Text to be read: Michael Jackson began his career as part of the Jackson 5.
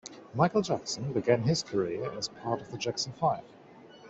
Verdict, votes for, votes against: rejected, 0, 2